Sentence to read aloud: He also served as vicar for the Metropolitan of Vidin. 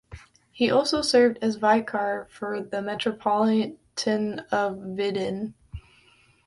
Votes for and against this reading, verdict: 2, 0, accepted